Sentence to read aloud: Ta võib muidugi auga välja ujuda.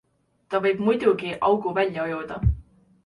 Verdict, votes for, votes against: rejected, 0, 2